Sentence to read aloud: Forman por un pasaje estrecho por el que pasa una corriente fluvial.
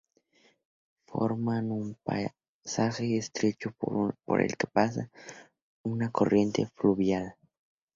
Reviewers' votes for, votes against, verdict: 0, 2, rejected